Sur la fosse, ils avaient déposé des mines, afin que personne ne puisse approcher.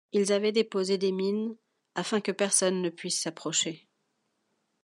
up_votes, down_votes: 1, 2